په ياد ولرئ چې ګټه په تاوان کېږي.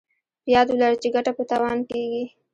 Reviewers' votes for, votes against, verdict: 0, 2, rejected